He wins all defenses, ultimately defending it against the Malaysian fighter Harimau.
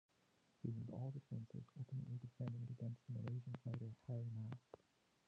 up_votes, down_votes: 0, 3